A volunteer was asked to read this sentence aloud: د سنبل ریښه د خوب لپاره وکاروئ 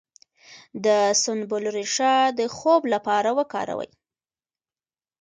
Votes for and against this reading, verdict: 0, 2, rejected